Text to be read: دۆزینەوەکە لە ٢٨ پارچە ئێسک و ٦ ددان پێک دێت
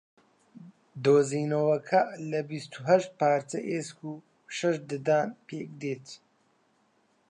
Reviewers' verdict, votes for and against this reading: rejected, 0, 2